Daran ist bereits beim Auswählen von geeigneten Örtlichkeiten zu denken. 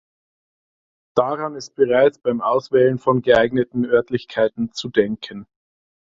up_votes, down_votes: 2, 0